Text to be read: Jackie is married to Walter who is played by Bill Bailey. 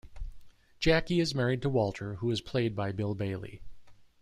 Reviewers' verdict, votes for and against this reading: accepted, 2, 0